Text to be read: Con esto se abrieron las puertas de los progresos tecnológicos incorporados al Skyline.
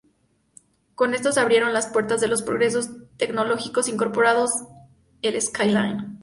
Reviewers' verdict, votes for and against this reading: rejected, 0, 2